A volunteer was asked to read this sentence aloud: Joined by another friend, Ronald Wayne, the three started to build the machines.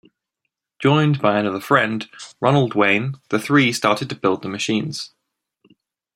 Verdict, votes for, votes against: accepted, 2, 0